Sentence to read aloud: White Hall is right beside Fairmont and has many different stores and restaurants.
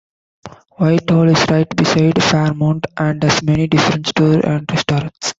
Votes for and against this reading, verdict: 2, 3, rejected